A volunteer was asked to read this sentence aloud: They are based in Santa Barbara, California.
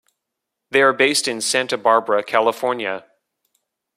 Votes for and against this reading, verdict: 2, 0, accepted